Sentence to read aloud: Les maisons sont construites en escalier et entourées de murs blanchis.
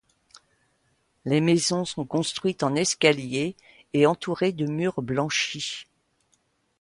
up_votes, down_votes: 2, 0